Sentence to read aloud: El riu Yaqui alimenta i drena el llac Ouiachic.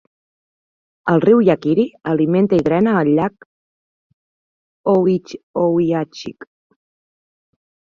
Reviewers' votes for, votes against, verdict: 0, 2, rejected